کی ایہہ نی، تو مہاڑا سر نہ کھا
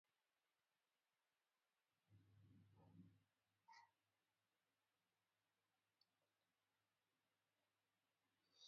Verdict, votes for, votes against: rejected, 0, 2